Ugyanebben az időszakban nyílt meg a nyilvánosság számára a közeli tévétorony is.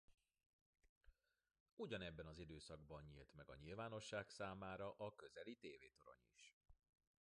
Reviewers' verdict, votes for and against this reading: accepted, 2, 1